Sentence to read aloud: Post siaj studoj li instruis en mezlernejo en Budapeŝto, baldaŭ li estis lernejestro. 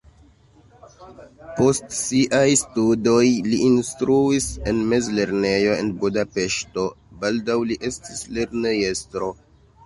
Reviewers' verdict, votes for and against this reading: rejected, 1, 2